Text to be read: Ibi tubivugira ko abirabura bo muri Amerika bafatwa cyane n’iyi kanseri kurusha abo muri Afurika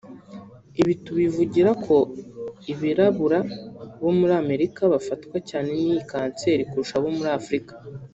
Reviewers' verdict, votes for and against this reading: rejected, 0, 2